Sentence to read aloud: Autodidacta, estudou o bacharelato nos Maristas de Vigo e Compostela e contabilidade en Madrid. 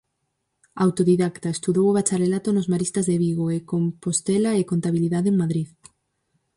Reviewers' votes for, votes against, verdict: 4, 0, accepted